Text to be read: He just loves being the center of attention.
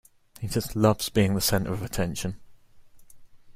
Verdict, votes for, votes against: accepted, 2, 0